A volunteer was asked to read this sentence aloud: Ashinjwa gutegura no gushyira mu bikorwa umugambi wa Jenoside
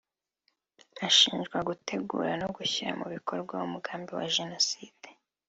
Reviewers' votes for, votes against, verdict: 2, 0, accepted